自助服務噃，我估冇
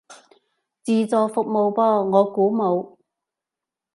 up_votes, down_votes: 2, 0